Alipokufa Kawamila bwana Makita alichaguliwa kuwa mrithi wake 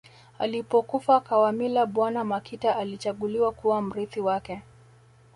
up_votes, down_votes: 2, 0